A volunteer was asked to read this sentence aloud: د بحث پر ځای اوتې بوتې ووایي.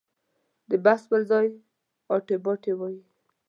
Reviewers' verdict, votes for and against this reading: accepted, 2, 0